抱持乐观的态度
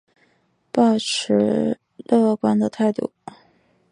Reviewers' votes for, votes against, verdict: 1, 2, rejected